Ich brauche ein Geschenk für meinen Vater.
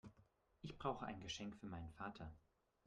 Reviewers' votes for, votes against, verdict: 0, 2, rejected